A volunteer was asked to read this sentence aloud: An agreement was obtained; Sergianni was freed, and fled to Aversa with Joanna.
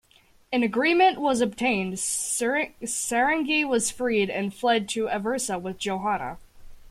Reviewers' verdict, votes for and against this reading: rejected, 0, 2